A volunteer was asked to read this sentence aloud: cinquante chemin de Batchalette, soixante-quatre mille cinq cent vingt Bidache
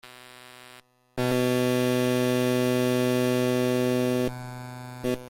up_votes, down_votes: 0, 2